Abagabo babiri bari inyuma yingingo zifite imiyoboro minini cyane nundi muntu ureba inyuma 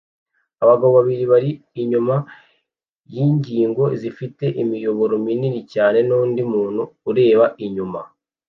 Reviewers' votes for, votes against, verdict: 2, 0, accepted